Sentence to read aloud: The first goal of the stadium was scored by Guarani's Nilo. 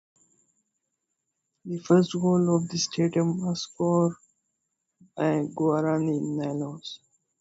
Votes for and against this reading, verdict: 1, 3, rejected